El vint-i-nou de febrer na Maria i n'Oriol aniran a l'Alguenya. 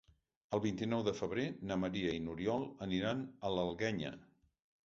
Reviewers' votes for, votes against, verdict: 2, 0, accepted